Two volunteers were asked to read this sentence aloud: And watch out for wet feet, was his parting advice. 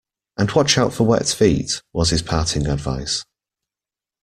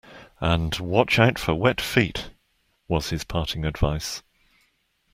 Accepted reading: second